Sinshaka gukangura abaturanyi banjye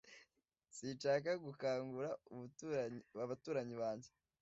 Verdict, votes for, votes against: rejected, 1, 2